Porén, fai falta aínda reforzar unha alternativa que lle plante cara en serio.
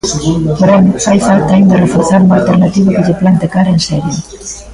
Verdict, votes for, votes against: rejected, 1, 2